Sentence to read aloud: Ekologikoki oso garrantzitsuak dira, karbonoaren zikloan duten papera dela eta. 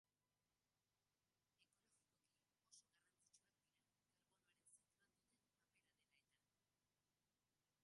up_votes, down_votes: 0, 2